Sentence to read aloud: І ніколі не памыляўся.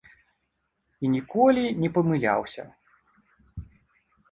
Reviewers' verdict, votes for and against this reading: accepted, 2, 0